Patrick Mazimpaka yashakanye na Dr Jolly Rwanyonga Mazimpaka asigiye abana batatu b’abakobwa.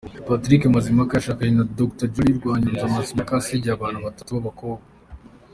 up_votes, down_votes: 3, 2